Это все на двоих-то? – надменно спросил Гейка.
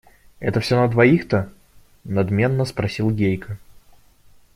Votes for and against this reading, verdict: 1, 2, rejected